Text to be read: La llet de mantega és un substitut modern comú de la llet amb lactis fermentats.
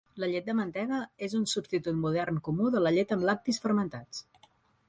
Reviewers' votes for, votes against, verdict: 4, 0, accepted